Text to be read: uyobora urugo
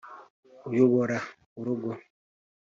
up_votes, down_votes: 2, 0